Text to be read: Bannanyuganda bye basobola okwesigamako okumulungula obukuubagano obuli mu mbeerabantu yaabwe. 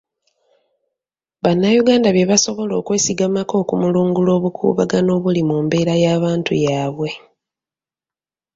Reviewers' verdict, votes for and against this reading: accepted, 2, 1